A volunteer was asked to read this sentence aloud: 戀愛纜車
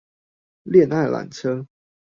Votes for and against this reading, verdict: 2, 0, accepted